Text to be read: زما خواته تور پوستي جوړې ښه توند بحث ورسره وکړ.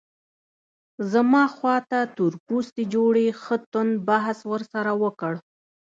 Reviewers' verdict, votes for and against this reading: accepted, 2, 1